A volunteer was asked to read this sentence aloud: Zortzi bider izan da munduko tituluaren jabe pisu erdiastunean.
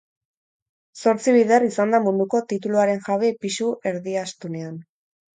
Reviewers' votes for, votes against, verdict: 4, 0, accepted